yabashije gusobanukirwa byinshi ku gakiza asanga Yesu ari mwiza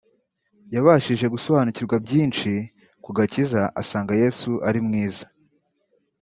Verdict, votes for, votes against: accepted, 2, 0